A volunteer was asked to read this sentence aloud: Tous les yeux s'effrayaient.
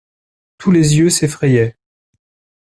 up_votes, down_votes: 2, 0